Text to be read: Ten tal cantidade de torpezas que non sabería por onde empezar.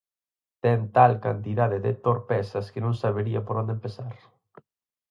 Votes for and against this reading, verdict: 4, 0, accepted